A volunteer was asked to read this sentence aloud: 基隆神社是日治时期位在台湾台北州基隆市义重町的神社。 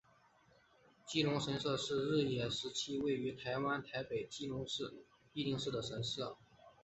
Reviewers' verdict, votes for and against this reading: rejected, 3, 4